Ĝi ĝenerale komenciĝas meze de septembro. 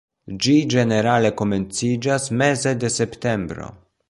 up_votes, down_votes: 2, 0